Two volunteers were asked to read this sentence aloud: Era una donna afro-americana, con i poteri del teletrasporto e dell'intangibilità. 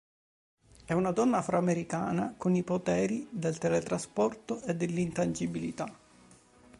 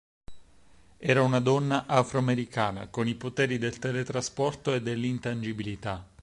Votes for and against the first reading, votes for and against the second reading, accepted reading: 2, 3, 6, 0, second